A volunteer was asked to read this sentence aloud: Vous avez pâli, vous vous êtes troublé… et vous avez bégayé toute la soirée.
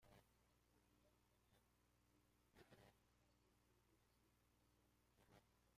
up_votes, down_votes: 0, 2